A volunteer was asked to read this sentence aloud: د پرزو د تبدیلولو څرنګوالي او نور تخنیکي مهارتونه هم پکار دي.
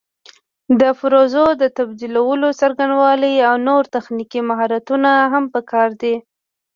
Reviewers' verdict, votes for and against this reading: accepted, 2, 1